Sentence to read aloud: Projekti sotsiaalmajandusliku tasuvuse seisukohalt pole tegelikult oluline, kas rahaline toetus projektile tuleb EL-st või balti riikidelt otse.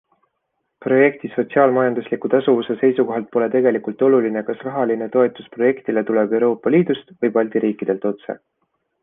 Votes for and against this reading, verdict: 2, 0, accepted